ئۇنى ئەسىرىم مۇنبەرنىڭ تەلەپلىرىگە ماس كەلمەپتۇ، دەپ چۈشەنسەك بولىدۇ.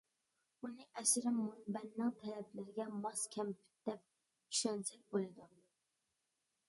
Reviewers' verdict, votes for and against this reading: rejected, 0, 2